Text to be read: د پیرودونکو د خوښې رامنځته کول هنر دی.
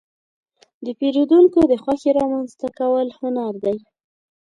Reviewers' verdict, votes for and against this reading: accepted, 3, 0